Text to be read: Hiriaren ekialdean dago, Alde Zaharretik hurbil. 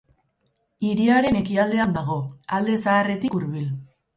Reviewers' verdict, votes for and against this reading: rejected, 0, 2